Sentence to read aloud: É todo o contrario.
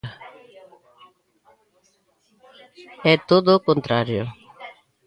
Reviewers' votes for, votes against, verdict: 1, 2, rejected